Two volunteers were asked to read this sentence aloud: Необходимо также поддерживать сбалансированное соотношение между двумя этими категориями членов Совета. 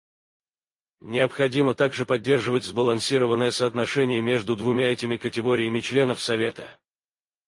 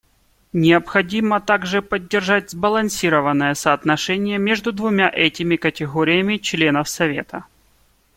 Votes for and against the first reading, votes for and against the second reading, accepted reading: 2, 4, 2, 1, second